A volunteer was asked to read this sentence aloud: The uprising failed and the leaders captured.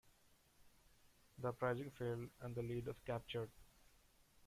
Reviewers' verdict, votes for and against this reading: accepted, 2, 0